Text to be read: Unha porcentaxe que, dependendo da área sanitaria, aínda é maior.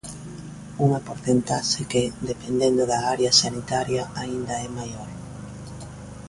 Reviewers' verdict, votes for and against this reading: accepted, 2, 0